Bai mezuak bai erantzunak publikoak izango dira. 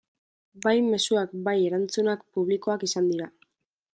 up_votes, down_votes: 0, 2